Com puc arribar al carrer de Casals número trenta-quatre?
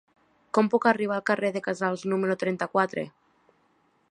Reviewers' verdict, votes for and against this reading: accepted, 3, 0